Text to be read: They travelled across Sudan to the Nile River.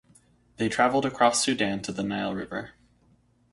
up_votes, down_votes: 4, 0